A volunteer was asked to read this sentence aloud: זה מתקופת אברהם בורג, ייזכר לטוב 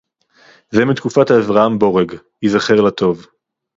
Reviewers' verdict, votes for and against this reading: rejected, 0, 2